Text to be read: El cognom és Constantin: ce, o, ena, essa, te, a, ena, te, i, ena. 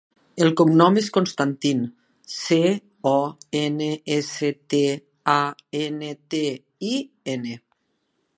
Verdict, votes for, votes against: rejected, 0, 2